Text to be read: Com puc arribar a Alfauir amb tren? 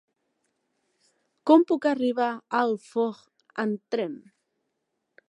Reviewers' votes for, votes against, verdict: 0, 2, rejected